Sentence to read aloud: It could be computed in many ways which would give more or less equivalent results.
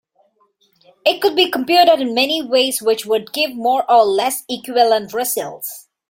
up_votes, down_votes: 2, 0